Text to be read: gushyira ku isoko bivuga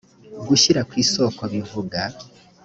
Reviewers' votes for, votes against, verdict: 2, 0, accepted